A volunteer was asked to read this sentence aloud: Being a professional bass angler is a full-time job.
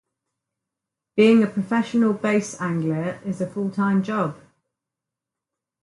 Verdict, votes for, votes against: accepted, 4, 0